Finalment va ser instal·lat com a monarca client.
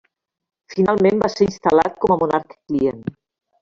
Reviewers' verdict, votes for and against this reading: rejected, 1, 2